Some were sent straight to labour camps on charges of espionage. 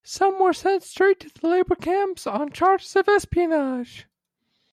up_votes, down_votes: 0, 2